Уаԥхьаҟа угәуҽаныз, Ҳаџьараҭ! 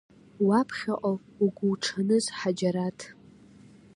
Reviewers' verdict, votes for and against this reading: accepted, 2, 0